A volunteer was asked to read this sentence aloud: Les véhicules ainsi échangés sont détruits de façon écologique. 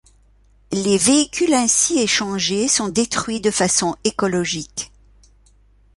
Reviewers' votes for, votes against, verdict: 2, 0, accepted